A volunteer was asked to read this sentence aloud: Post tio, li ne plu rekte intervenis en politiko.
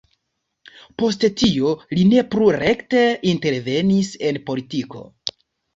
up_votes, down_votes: 1, 2